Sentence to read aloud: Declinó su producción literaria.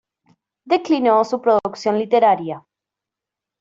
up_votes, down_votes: 2, 0